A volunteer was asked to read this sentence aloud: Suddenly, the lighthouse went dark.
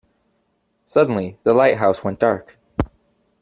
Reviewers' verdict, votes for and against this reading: accepted, 2, 0